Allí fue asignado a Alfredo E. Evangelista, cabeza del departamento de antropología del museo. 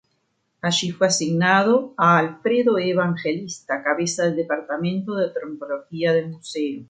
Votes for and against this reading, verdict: 0, 2, rejected